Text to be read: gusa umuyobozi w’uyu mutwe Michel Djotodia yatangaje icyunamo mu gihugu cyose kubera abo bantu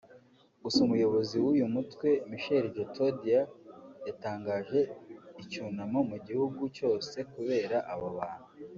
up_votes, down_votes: 2, 0